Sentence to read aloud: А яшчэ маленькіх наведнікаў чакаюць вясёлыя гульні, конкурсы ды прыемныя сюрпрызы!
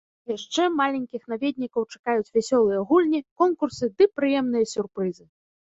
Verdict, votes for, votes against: rejected, 1, 2